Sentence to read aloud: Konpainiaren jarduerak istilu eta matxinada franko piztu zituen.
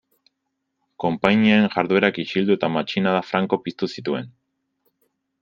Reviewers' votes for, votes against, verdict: 1, 2, rejected